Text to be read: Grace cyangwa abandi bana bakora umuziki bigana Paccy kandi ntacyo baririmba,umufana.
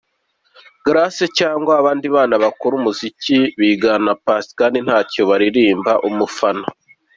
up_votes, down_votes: 2, 0